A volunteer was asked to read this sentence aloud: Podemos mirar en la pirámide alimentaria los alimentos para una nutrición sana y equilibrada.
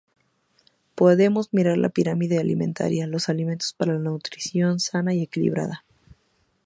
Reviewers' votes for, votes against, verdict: 0, 2, rejected